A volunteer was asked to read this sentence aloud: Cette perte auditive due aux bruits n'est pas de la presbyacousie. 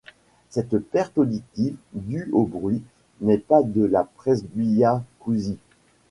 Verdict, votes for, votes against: accepted, 2, 0